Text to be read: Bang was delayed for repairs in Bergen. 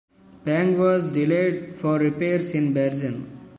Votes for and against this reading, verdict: 0, 2, rejected